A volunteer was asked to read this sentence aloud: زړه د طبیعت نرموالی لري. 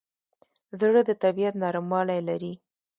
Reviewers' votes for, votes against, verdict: 2, 0, accepted